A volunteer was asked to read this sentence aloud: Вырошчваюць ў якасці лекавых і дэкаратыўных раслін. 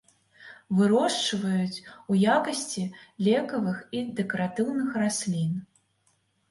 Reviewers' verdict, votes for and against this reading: accepted, 2, 1